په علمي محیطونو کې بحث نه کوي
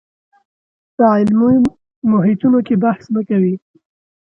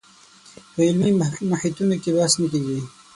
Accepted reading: first